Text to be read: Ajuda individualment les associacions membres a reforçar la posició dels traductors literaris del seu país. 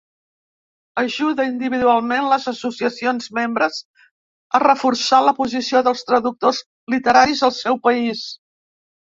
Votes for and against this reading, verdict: 1, 2, rejected